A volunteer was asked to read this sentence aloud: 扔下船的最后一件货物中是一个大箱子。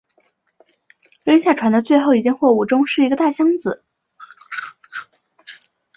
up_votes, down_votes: 3, 0